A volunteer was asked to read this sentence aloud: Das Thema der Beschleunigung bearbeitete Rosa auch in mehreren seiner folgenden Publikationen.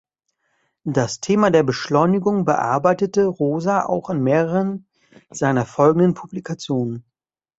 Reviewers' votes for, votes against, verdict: 2, 0, accepted